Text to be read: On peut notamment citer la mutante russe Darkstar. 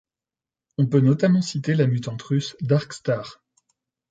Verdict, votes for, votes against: accepted, 2, 0